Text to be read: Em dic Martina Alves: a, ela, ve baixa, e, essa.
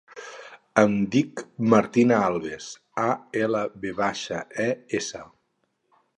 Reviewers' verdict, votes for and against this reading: rejected, 0, 2